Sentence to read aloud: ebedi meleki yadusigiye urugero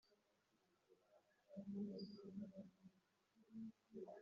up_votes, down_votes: 0, 2